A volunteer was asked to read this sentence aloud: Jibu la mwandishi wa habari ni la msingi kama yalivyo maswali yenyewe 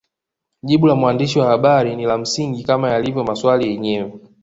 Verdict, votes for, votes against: accepted, 2, 0